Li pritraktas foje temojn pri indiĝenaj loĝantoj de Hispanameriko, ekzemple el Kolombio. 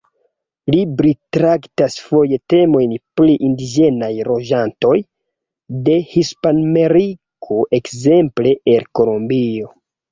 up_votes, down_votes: 1, 2